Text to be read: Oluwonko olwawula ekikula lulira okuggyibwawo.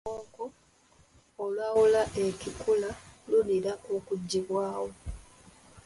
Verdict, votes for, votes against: rejected, 0, 2